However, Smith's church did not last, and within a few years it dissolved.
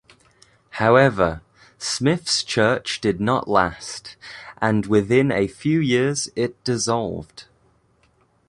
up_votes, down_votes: 2, 1